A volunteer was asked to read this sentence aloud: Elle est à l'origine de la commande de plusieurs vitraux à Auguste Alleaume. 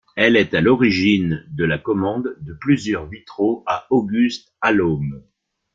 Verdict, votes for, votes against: accepted, 2, 0